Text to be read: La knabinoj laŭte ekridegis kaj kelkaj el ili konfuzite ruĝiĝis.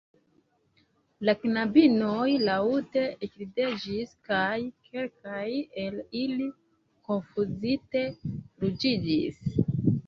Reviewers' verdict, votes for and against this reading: rejected, 2, 4